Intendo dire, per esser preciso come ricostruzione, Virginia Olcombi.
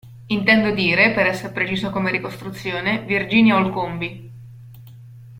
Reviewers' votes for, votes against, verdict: 2, 0, accepted